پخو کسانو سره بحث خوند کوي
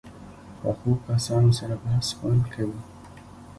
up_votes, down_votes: 0, 2